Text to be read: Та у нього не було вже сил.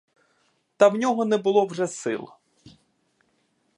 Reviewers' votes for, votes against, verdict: 1, 2, rejected